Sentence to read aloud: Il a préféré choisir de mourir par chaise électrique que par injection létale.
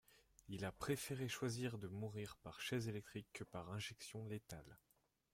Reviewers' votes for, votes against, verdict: 1, 2, rejected